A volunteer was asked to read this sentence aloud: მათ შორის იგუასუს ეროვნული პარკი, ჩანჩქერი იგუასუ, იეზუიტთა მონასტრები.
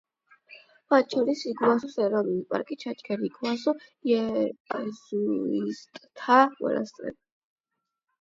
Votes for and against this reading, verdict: 0, 8, rejected